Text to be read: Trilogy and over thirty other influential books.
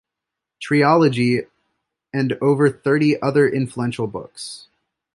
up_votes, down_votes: 1, 2